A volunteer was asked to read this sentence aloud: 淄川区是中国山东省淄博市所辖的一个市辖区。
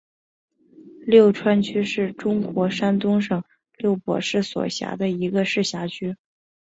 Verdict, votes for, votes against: accepted, 3, 0